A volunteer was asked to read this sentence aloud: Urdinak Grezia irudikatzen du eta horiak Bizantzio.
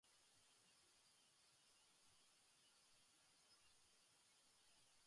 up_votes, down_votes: 0, 3